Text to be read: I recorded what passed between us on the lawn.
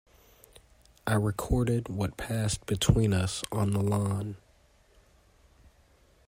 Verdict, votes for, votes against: accepted, 2, 0